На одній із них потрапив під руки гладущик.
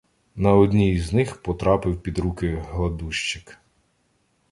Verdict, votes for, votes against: accepted, 2, 0